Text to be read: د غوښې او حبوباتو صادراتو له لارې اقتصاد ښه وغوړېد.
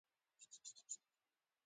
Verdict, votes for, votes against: accepted, 2, 1